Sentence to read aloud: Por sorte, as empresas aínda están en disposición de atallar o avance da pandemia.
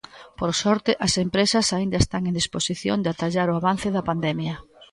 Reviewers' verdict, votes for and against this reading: rejected, 1, 2